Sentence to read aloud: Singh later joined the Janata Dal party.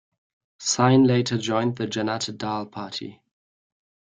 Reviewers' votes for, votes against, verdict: 0, 2, rejected